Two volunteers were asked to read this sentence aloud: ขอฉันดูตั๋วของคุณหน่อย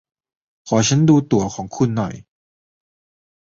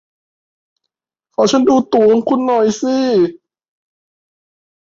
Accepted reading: first